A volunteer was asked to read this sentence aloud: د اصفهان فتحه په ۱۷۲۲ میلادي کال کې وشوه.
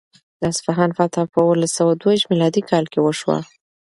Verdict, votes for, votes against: rejected, 0, 2